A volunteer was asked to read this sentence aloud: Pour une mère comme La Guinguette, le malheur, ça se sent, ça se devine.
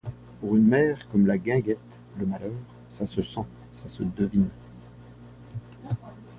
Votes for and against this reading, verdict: 2, 0, accepted